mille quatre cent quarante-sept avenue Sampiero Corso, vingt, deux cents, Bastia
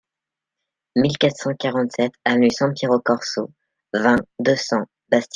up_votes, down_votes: 1, 2